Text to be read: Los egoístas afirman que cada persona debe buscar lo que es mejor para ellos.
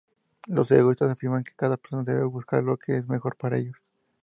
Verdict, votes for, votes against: rejected, 0, 2